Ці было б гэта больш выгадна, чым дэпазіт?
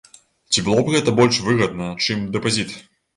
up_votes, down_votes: 2, 0